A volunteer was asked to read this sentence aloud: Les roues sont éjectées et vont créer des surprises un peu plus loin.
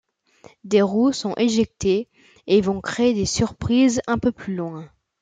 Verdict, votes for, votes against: accepted, 2, 0